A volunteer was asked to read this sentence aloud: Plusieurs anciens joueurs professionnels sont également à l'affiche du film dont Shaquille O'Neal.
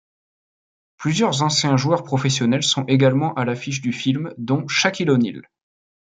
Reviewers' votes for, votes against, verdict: 2, 0, accepted